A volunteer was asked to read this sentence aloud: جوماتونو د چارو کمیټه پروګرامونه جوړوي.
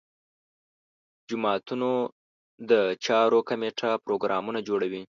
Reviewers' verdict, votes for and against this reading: accepted, 3, 0